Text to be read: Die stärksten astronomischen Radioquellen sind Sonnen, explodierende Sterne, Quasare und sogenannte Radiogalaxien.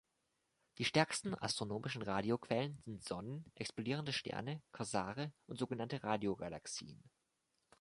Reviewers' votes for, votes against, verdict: 2, 0, accepted